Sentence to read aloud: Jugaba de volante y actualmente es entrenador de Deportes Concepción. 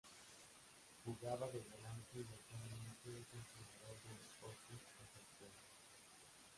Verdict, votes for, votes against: rejected, 0, 2